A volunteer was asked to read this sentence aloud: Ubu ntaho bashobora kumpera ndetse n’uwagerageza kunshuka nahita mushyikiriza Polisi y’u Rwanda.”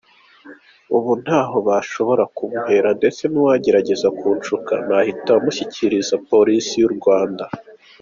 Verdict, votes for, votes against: accepted, 2, 0